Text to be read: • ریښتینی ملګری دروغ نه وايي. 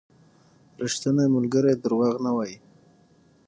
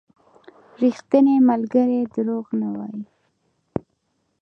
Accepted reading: first